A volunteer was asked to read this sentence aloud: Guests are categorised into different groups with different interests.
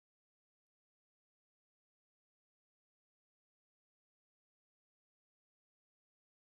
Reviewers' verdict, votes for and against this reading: rejected, 0, 4